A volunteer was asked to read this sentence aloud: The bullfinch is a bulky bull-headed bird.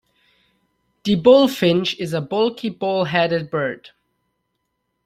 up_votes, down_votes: 2, 0